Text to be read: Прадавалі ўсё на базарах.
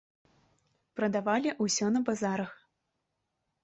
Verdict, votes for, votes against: rejected, 0, 2